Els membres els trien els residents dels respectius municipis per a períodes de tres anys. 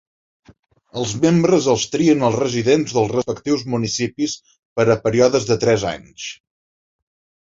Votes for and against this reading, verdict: 1, 3, rejected